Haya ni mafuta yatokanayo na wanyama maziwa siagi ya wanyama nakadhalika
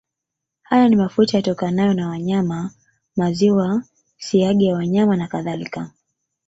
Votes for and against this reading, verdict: 2, 0, accepted